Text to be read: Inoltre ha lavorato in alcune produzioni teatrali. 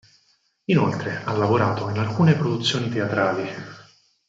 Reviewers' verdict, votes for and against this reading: accepted, 6, 4